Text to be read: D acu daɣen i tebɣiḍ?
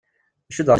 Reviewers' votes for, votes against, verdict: 0, 2, rejected